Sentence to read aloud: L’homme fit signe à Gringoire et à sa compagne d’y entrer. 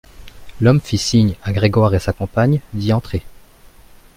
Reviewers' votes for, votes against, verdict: 0, 2, rejected